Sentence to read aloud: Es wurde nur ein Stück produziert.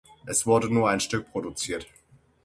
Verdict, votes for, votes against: accepted, 6, 0